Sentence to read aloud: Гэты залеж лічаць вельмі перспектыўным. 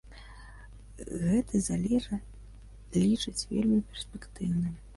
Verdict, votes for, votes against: rejected, 0, 2